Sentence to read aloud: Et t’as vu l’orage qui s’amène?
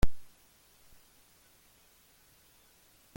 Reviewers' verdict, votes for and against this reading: rejected, 0, 2